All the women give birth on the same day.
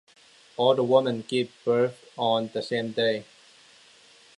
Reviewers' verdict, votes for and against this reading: accepted, 2, 1